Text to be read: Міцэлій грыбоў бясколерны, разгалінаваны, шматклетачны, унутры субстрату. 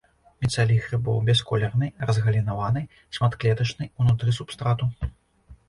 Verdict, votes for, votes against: accepted, 2, 0